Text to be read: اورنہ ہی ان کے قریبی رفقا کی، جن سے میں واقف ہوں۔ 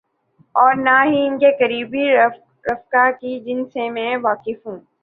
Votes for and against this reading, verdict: 4, 0, accepted